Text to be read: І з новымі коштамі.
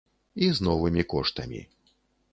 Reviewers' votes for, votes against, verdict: 3, 0, accepted